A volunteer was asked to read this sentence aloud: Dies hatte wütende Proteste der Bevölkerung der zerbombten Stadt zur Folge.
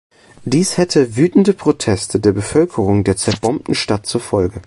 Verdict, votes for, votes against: rejected, 0, 2